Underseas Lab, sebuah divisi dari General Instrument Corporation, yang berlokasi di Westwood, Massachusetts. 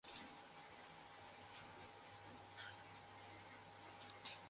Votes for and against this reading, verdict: 0, 2, rejected